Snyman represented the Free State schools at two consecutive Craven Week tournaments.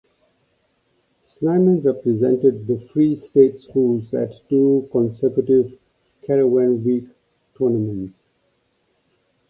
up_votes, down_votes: 1, 2